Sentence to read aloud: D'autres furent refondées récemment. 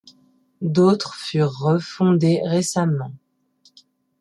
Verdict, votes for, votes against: accepted, 2, 0